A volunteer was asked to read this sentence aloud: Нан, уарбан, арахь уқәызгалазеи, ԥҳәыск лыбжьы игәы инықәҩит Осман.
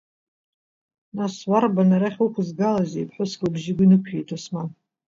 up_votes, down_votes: 0, 2